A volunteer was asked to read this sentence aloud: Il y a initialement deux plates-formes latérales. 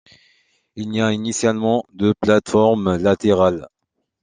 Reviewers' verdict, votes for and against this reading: accepted, 2, 0